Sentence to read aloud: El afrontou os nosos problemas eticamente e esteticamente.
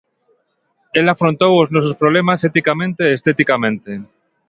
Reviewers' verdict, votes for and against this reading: accepted, 2, 0